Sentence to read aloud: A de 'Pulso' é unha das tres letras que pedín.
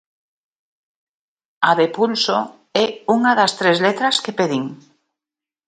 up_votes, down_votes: 2, 0